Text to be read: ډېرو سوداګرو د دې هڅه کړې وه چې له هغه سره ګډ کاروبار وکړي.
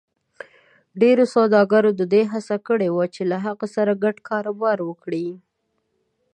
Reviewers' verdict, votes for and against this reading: accepted, 2, 0